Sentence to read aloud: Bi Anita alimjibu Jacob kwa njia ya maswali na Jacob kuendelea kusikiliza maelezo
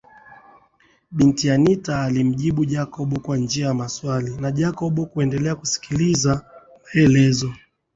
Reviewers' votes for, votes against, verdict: 14, 5, accepted